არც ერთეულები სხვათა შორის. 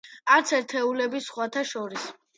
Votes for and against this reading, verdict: 2, 0, accepted